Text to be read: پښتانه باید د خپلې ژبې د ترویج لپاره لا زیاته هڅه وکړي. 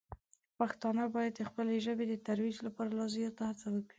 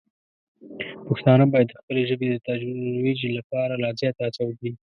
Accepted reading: first